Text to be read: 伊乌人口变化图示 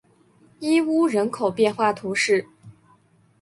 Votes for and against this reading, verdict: 3, 1, accepted